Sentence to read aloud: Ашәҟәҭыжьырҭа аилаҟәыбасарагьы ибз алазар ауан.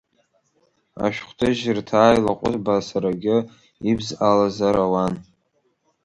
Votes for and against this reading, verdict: 2, 3, rejected